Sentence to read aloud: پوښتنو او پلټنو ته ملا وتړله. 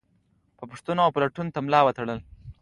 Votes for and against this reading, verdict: 2, 1, accepted